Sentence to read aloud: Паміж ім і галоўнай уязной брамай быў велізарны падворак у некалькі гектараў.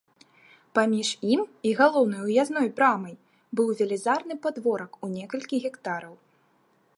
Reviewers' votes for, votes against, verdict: 3, 0, accepted